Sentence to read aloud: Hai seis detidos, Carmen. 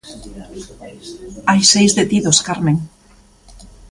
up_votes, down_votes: 1, 2